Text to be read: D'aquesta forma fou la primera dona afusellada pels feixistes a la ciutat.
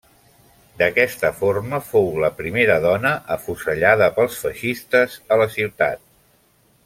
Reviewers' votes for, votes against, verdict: 3, 0, accepted